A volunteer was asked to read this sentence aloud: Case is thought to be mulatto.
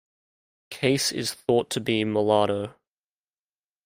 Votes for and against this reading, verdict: 2, 0, accepted